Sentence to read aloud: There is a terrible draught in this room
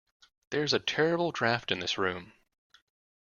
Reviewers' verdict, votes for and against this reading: accepted, 2, 1